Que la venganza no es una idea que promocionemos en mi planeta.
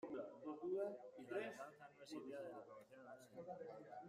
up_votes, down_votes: 0, 2